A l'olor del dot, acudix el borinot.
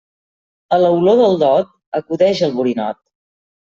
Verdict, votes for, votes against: rejected, 0, 2